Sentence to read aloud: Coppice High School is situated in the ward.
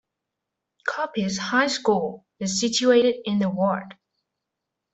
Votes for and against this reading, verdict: 2, 0, accepted